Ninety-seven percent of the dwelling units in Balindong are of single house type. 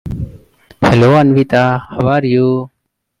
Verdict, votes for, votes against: rejected, 0, 2